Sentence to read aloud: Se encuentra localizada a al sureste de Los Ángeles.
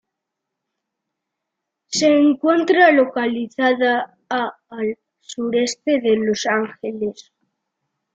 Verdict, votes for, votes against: accepted, 2, 0